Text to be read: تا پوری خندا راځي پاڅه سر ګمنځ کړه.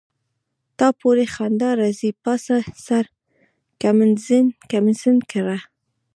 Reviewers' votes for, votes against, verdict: 2, 0, accepted